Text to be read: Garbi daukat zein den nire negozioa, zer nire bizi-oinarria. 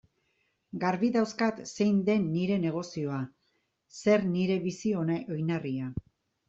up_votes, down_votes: 1, 2